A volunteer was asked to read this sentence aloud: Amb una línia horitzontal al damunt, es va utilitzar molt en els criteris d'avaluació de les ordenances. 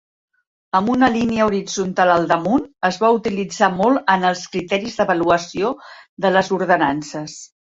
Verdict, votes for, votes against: accepted, 4, 0